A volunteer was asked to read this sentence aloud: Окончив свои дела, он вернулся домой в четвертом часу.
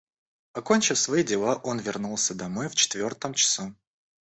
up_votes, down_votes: 1, 2